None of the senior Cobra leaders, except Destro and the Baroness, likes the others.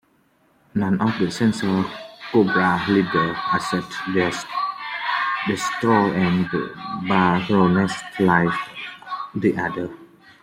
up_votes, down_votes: 1, 2